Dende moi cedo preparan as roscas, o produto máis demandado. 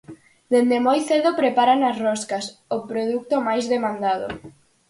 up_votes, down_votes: 4, 0